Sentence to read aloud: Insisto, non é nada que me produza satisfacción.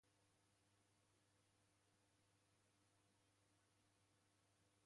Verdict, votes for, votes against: rejected, 0, 2